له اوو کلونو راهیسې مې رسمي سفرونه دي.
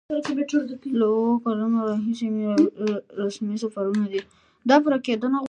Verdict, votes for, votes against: rejected, 0, 2